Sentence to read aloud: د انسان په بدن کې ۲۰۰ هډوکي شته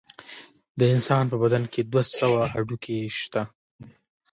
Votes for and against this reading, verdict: 0, 2, rejected